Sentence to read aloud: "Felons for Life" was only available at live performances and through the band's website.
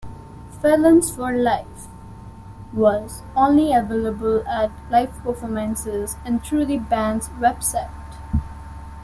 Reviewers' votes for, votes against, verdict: 2, 0, accepted